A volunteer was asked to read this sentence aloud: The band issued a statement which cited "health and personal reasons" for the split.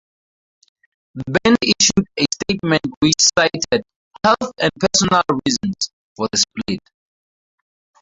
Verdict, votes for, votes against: rejected, 2, 2